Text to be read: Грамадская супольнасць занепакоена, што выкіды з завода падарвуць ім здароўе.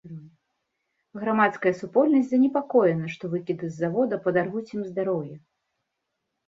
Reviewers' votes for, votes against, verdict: 2, 0, accepted